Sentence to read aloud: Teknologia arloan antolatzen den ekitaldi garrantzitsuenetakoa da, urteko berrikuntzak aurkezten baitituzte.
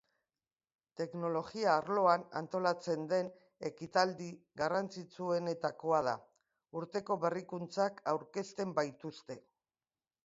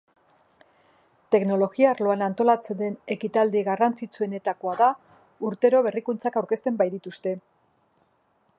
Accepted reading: first